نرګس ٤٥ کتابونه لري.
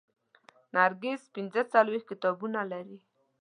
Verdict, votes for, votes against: rejected, 0, 2